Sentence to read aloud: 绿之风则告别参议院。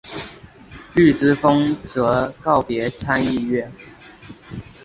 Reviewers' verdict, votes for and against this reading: accepted, 3, 0